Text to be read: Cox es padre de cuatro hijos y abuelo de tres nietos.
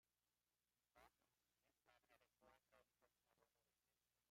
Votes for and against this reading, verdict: 0, 2, rejected